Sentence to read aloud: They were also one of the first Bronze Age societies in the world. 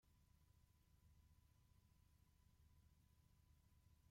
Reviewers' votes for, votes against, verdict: 0, 2, rejected